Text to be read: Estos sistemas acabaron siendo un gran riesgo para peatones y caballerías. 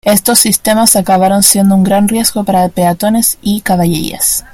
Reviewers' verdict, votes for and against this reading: rejected, 1, 2